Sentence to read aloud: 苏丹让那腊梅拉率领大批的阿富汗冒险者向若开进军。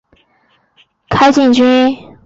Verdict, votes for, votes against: rejected, 0, 4